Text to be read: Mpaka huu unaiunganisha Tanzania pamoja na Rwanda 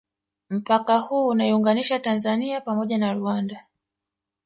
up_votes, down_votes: 1, 2